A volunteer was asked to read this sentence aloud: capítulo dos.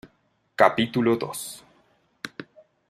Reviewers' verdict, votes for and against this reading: accepted, 2, 0